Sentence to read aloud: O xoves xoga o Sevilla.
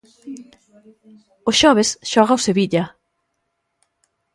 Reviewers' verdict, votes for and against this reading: accepted, 2, 0